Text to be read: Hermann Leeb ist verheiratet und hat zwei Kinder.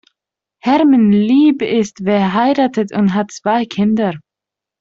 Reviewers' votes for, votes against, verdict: 0, 2, rejected